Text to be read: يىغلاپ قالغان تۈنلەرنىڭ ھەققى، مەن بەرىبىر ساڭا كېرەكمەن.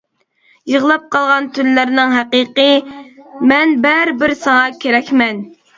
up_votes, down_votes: 0, 2